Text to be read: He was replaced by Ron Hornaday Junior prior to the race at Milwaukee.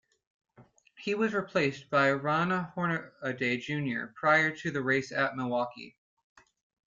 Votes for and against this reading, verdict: 0, 2, rejected